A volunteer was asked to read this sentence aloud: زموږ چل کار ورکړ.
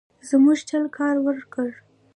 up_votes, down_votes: 2, 0